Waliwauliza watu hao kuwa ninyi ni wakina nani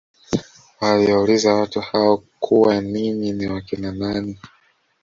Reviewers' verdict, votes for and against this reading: rejected, 1, 2